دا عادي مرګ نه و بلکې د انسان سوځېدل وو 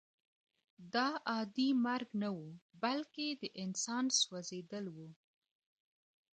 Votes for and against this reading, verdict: 1, 2, rejected